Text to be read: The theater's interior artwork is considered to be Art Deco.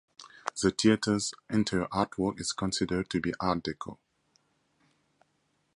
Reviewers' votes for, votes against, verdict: 2, 0, accepted